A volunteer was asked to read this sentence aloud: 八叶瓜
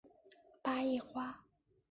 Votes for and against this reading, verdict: 2, 0, accepted